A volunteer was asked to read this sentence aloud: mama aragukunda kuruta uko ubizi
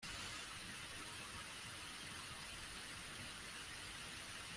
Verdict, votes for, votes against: rejected, 0, 2